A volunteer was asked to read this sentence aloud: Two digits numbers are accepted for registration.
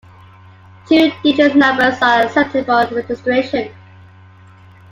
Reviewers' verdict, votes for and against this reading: accepted, 2, 1